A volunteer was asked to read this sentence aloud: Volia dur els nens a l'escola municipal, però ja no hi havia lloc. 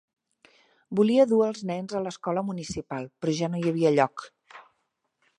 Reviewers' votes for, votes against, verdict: 2, 0, accepted